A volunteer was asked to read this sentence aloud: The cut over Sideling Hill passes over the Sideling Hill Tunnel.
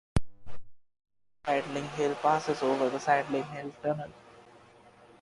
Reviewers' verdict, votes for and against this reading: rejected, 1, 2